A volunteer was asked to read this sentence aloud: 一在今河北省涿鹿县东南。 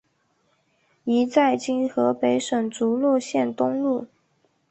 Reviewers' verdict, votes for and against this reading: rejected, 0, 4